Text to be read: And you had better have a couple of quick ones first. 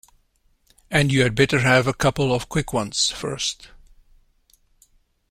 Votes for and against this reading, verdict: 2, 0, accepted